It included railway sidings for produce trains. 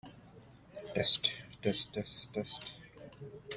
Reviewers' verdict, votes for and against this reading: rejected, 0, 2